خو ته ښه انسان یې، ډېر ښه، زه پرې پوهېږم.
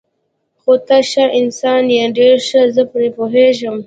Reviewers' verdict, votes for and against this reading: accepted, 2, 0